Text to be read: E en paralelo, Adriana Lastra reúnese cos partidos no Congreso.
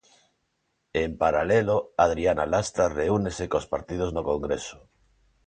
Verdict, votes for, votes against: accepted, 2, 0